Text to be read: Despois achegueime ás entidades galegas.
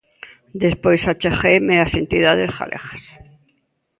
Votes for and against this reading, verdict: 2, 0, accepted